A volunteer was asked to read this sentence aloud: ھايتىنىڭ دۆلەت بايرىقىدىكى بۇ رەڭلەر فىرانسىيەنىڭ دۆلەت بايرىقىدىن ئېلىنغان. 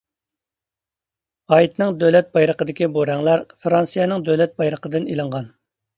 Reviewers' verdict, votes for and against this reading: rejected, 1, 2